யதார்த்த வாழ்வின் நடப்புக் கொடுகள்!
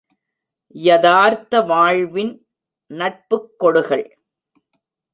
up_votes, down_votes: 1, 2